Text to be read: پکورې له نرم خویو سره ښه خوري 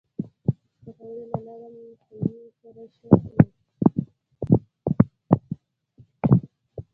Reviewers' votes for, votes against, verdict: 1, 2, rejected